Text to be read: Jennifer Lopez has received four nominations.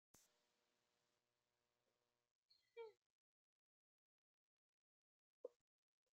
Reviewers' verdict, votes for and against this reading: rejected, 0, 2